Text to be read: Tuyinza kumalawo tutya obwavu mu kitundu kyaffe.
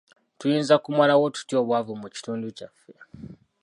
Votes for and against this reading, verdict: 2, 1, accepted